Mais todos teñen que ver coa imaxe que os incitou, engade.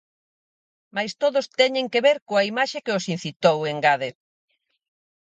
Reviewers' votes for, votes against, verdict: 4, 0, accepted